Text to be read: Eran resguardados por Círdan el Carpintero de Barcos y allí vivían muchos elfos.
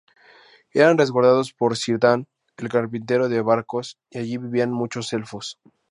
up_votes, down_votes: 2, 0